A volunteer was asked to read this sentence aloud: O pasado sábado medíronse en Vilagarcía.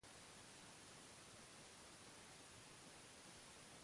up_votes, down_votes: 0, 2